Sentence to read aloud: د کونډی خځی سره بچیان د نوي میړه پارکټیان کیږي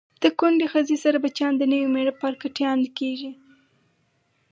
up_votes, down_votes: 2, 2